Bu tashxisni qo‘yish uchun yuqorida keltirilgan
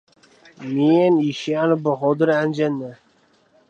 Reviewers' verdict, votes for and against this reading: rejected, 0, 2